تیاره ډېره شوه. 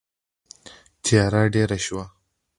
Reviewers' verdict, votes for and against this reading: accepted, 2, 0